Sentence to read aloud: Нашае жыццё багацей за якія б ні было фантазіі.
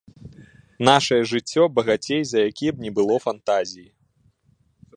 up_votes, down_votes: 2, 0